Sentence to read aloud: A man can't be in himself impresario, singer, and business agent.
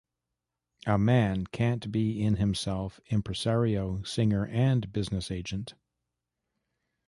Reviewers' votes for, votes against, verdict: 2, 0, accepted